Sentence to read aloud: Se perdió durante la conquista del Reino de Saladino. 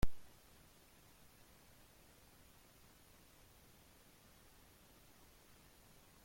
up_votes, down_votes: 0, 2